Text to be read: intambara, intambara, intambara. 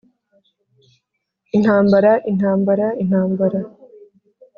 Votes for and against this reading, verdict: 2, 0, accepted